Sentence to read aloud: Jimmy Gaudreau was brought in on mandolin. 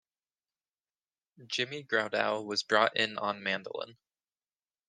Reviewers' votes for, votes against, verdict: 1, 2, rejected